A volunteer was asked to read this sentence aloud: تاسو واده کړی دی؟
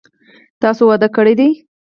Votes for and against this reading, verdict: 0, 4, rejected